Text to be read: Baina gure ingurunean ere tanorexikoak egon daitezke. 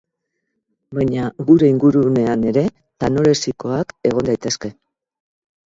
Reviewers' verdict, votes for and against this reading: accepted, 6, 0